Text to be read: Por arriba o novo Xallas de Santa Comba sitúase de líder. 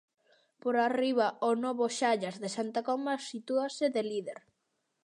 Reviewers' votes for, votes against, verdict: 2, 0, accepted